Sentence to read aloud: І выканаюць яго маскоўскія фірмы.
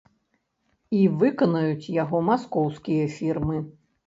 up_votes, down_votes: 2, 0